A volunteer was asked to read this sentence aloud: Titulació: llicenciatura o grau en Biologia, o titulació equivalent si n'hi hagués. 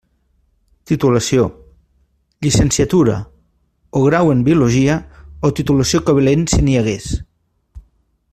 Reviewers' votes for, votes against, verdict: 1, 2, rejected